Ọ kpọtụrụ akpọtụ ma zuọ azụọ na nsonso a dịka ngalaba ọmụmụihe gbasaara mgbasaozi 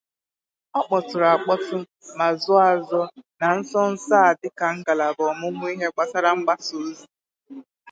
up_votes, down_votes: 2, 2